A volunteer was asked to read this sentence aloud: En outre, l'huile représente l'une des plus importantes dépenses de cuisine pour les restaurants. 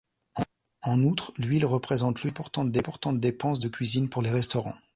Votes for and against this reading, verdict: 1, 2, rejected